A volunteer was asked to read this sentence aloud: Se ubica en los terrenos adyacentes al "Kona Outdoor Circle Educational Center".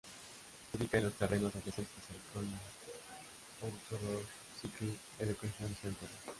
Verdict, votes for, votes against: rejected, 0, 2